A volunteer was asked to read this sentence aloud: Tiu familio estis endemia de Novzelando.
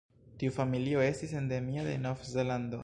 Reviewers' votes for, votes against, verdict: 1, 2, rejected